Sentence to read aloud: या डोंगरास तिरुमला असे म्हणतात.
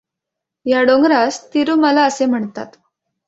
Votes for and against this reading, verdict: 2, 0, accepted